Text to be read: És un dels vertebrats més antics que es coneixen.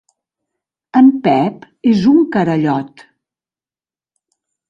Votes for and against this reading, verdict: 0, 2, rejected